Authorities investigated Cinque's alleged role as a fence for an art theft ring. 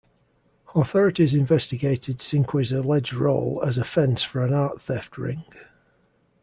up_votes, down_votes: 2, 0